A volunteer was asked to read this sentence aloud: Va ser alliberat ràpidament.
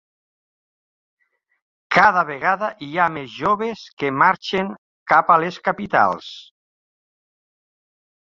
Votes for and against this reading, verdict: 1, 2, rejected